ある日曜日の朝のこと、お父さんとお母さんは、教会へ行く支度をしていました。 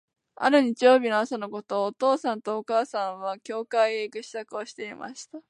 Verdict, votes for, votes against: accepted, 2, 0